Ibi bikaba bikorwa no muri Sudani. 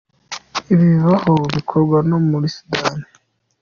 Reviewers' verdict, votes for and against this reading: accepted, 2, 0